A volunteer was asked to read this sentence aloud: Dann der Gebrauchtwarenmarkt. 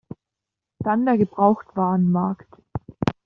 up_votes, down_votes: 2, 0